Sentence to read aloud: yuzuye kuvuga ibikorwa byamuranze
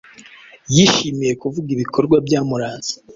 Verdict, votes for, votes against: rejected, 1, 2